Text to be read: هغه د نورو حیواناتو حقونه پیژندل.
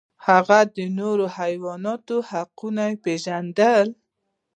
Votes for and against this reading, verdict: 1, 2, rejected